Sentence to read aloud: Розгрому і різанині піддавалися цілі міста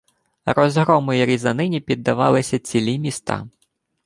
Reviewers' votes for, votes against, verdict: 2, 0, accepted